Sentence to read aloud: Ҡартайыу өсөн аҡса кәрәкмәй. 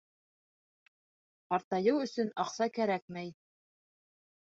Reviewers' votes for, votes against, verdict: 2, 0, accepted